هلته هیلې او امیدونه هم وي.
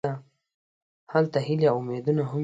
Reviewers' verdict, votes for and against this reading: rejected, 0, 2